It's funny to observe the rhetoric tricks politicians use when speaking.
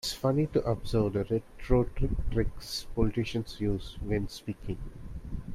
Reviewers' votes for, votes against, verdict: 0, 2, rejected